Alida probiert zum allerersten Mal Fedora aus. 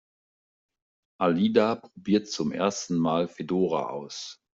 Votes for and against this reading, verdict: 0, 2, rejected